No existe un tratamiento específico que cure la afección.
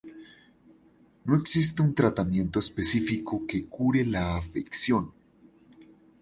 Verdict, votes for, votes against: rejected, 0, 2